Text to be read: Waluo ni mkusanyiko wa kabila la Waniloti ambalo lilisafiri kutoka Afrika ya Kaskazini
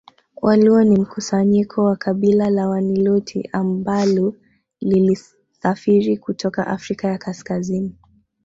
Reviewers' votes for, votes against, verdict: 2, 1, accepted